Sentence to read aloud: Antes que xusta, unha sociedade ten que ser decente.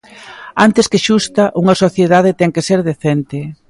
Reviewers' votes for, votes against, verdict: 2, 0, accepted